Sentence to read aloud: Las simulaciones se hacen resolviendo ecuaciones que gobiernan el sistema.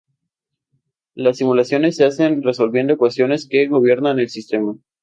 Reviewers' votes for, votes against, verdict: 4, 0, accepted